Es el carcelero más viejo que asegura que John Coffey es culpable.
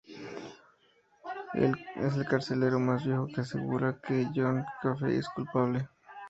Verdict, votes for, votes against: accepted, 2, 0